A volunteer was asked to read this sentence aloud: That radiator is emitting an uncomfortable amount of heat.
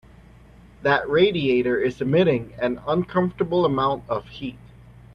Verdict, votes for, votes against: accepted, 2, 0